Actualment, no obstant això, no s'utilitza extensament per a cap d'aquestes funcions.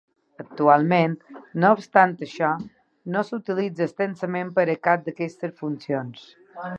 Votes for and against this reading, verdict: 1, 2, rejected